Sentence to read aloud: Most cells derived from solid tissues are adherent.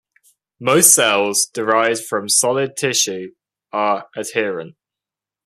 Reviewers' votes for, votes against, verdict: 2, 1, accepted